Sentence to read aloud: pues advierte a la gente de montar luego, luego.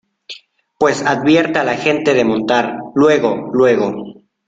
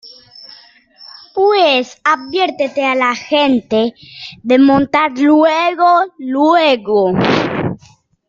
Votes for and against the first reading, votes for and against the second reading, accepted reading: 2, 0, 1, 2, first